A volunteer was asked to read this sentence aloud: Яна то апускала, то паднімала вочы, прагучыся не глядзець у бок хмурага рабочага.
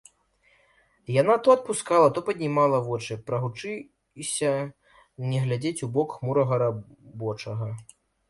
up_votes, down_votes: 1, 2